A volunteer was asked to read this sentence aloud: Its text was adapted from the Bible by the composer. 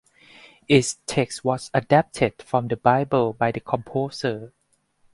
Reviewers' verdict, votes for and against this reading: accepted, 6, 0